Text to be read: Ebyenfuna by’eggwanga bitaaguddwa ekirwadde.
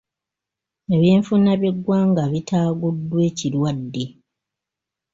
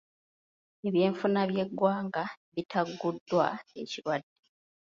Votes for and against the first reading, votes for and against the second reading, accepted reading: 2, 0, 0, 2, first